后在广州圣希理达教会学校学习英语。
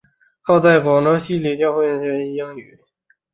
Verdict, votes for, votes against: rejected, 1, 5